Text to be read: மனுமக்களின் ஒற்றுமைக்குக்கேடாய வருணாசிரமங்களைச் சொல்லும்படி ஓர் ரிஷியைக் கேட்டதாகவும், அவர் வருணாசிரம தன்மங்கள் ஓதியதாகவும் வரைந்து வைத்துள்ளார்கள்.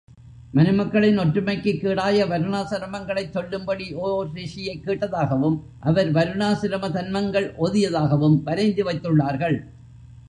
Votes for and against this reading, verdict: 2, 1, accepted